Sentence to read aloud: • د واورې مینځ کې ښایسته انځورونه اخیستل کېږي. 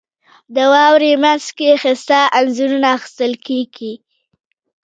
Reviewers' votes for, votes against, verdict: 1, 2, rejected